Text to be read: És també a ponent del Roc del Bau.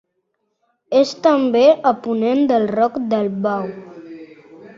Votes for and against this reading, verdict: 2, 0, accepted